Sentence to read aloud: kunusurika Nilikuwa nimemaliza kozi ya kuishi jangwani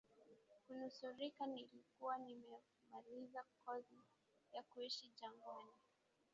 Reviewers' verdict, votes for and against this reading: rejected, 1, 2